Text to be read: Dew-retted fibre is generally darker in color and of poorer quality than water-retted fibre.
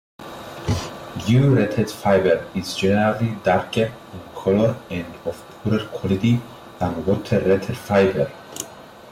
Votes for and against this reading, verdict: 0, 2, rejected